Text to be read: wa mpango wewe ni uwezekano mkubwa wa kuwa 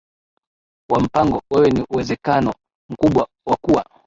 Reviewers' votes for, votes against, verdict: 1, 2, rejected